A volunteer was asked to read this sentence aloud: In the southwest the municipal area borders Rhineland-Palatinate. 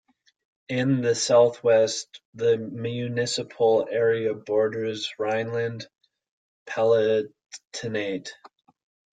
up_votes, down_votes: 1, 2